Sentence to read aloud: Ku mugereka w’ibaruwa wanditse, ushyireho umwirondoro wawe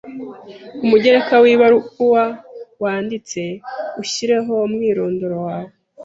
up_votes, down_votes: 2, 0